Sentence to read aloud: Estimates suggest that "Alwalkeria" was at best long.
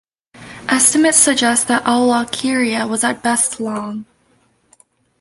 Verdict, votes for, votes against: accepted, 2, 0